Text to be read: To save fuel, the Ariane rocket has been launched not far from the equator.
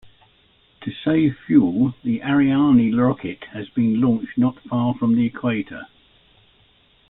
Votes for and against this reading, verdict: 2, 0, accepted